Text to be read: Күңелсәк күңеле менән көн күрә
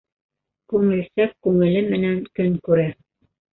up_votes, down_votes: 1, 2